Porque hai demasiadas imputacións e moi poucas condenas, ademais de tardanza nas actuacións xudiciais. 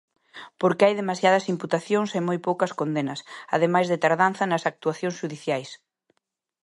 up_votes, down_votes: 2, 0